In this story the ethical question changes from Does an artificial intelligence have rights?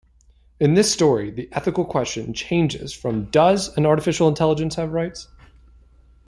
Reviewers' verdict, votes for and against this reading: accepted, 2, 0